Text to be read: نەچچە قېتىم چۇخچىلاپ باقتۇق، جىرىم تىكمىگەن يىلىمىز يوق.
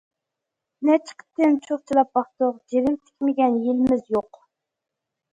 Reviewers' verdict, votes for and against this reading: accepted, 2, 1